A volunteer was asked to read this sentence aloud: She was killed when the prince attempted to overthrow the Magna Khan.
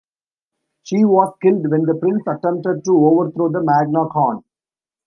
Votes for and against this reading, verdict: 2, 0, accepted